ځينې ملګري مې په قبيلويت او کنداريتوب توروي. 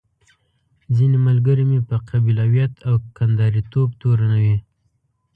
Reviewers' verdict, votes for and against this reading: accepted, 2, 1